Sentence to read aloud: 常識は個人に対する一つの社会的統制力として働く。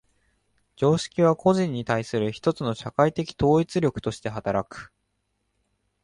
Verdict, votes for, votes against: rejected, 0, 2